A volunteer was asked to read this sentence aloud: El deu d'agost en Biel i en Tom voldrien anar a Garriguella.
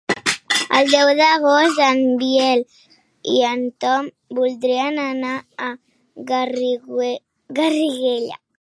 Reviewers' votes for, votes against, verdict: 0, 2, rejected